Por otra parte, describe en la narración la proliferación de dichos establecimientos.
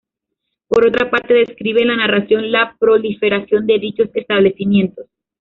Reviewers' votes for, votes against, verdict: 1, 2, rejected